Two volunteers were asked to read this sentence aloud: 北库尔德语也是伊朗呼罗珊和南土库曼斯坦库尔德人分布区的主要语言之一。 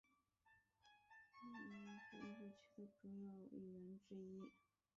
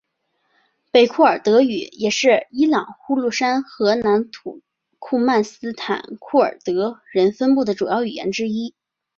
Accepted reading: second